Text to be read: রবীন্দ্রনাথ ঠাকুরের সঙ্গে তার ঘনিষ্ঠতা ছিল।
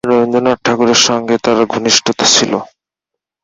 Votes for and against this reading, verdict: 2, 0, accepted